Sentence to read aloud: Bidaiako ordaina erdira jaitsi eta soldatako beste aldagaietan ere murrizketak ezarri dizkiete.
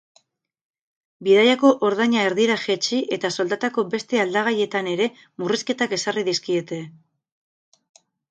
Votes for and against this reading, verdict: 8, 0, accepted